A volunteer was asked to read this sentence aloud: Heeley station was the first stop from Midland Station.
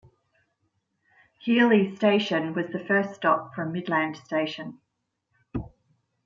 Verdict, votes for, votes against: accepted, 2, 0